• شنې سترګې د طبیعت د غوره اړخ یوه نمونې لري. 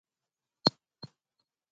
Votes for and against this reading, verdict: 0, 2, rejected